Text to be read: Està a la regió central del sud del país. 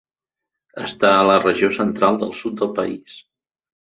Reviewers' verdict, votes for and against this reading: accepted, 3, 0